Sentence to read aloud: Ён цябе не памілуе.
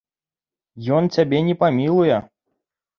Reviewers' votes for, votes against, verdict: 2, 0, accepted